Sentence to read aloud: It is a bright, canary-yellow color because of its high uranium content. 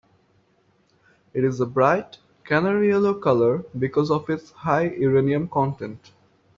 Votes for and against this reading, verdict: 0, 2, rejected